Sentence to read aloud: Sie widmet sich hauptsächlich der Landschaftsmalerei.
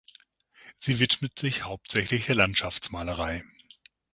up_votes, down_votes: 0, 6